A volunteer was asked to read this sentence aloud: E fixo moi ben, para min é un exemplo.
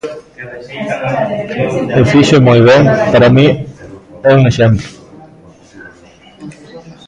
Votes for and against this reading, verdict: 0, 2, rejected